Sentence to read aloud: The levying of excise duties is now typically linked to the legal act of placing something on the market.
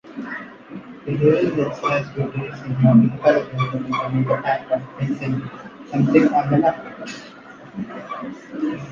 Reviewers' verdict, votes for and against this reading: rejected, 0, 2